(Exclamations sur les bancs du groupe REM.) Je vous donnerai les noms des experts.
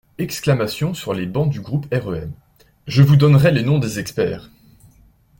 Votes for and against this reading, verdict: 2, 1, accepted